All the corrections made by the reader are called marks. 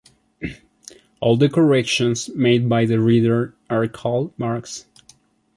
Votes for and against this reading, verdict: 2, 0, accepted